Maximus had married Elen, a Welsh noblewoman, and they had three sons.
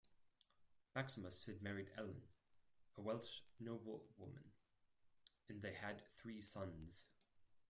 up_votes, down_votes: 0, 4